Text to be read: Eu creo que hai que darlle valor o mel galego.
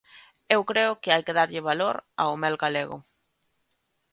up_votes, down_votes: 1, 2